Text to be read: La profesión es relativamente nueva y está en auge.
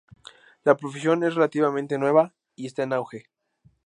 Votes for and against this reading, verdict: 2, 0, accepted